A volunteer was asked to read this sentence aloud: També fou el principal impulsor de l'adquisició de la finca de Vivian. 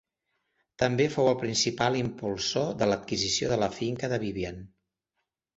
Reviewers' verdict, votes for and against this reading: accepted, 5, 0